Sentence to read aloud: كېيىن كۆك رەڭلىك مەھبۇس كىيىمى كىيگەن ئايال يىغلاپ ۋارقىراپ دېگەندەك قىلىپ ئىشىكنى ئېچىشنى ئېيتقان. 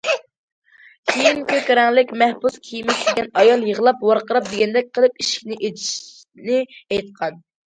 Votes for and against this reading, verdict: 0, 2, rejected